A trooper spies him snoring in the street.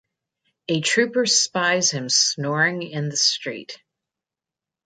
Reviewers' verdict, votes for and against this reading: accepted, 2, 0